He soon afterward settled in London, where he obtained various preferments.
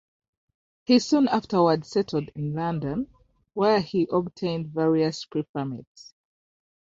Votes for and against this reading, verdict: 3, 0, accepted